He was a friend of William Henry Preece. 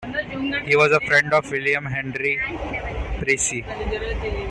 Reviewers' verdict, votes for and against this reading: rejected, 0, 2